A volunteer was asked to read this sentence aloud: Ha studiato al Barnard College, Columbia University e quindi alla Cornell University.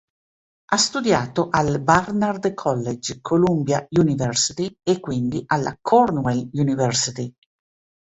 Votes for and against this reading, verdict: 0, 3, rejected